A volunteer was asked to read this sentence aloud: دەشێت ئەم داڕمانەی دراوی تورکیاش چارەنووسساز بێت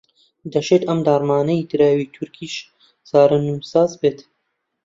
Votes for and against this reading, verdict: 1, 2, rejected